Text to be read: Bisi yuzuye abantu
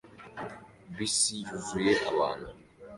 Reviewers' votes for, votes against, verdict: 2, 0, accepted